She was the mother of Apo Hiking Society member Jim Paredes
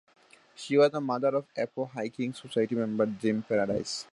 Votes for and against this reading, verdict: 2, 0, accepted